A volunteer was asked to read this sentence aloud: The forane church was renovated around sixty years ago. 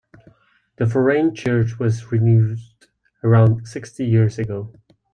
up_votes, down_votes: 0, 2